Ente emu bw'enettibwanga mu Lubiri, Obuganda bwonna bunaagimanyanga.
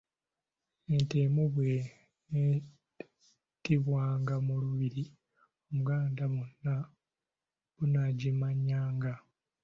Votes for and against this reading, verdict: 1, 2, rejected